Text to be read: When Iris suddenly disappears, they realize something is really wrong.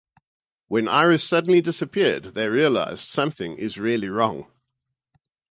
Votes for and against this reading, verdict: 2, 2, rejected